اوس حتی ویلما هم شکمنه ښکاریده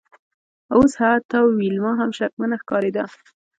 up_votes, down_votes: 1, 2